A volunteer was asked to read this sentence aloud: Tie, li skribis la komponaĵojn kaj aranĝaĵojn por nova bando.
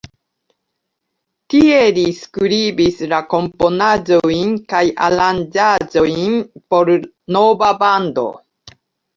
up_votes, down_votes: 1, 2